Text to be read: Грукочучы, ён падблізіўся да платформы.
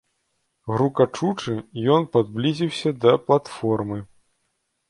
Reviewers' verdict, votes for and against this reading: rejected, 0, 2